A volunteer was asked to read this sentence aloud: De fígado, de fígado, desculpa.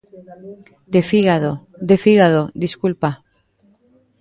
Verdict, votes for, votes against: rejected, 0, 2